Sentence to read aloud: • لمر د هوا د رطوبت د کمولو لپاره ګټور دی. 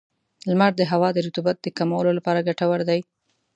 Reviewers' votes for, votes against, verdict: 2, 0, accepted